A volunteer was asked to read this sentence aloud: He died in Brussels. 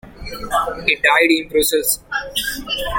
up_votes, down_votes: 2, 1